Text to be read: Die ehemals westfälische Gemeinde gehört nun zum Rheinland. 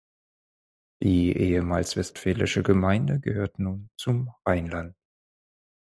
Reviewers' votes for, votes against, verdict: 0, 4, rejected